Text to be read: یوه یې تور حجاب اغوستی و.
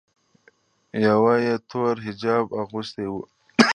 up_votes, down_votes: 2, 0